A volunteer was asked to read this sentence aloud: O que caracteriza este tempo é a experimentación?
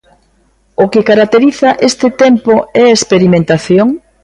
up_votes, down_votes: 2, 1